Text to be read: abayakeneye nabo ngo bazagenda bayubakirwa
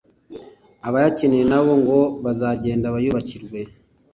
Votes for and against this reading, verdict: 2, 0, accepted